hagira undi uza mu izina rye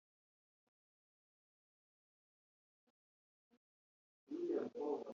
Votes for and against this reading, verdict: 0, 2, rejected